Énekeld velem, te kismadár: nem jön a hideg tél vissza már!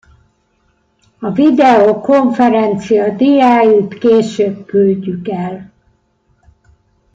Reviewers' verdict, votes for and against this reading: rejected, 0, 2